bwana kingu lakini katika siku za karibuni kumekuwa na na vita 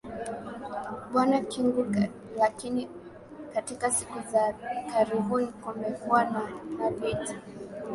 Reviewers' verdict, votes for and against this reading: rejected, 1, 2